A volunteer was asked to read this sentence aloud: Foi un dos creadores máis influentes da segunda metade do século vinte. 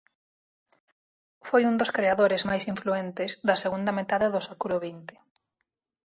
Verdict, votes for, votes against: accepted, 4, 0